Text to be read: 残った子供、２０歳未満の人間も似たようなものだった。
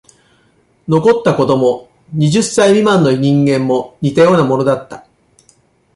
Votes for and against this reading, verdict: 0, 2, rejected